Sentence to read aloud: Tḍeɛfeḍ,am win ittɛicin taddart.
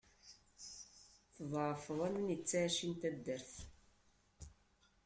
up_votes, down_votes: 2, 0